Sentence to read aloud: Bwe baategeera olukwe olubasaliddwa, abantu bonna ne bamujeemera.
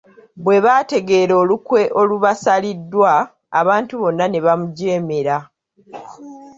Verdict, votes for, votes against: accepted, 2, 1